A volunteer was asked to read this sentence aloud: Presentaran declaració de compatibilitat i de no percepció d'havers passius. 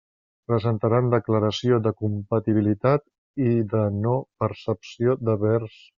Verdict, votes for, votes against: rejected, 0, 2